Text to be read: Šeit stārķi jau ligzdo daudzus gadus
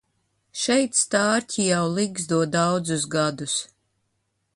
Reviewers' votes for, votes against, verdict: 2, 0, accepted